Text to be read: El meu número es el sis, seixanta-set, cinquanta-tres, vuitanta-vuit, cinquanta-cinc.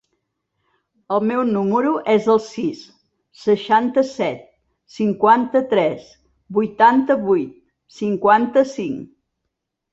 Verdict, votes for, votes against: accepted, 2, 0